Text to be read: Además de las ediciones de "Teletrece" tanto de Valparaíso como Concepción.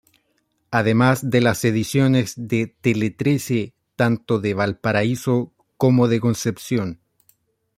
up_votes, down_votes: 1, 2